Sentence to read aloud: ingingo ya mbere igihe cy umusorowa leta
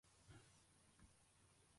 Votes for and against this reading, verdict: 0, 2, rejected